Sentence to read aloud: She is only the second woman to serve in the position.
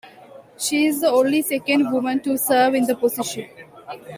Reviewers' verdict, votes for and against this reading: rejected, 1, 2